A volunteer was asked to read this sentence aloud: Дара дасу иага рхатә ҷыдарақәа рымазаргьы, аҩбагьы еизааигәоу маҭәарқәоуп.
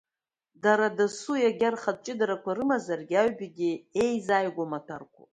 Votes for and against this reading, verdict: 2, 0, accepted